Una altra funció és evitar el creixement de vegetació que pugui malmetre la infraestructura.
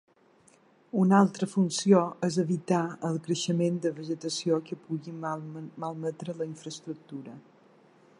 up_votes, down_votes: 3, 1